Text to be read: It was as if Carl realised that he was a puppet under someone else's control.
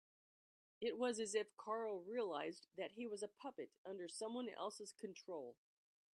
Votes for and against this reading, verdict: 3, 0, accepted